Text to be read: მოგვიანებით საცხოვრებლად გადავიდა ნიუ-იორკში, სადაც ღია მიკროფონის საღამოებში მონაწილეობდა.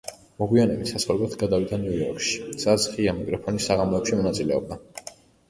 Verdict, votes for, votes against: accepted, 2, 0